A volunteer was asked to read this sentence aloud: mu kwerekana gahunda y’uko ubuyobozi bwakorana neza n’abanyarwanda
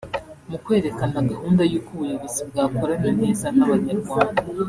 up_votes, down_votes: 1, 2